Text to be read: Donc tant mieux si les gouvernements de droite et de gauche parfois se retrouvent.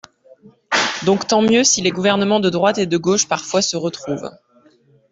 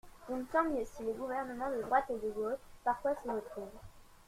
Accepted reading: first